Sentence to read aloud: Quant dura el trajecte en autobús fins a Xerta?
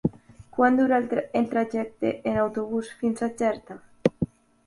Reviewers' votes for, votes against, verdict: 0, 2, rejected